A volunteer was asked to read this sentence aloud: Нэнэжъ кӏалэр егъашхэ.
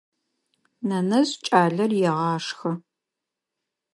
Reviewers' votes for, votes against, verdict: 2, 0, accepted